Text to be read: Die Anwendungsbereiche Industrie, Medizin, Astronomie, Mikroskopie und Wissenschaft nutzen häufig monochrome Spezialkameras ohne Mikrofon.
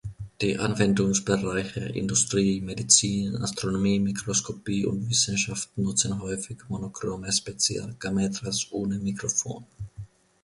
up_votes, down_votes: 1, 2